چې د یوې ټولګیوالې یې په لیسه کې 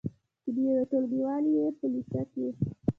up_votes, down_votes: 0, 2